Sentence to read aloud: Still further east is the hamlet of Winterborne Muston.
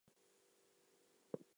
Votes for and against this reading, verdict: 0, 2, rejected